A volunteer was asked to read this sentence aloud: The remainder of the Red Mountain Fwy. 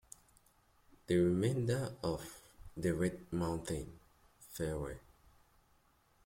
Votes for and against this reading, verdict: 1, 2, rejected